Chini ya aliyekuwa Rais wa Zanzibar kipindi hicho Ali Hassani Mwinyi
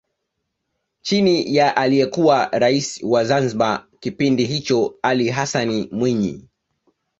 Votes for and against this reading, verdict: 2, 0, accepted